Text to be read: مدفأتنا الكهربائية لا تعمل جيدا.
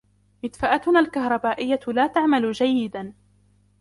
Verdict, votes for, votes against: accepted, 2, 1